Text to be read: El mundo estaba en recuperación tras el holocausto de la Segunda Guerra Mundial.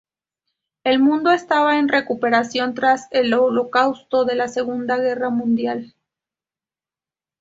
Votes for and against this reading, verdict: 2, 0, accepted